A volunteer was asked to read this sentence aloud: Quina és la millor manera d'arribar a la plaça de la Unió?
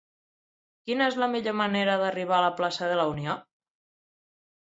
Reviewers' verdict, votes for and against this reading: accepted, 6, 0